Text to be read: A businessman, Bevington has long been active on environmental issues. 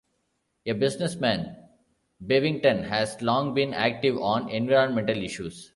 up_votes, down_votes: 2, 0